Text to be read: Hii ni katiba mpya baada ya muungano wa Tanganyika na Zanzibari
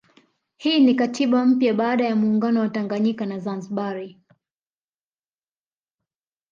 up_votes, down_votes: 2, 0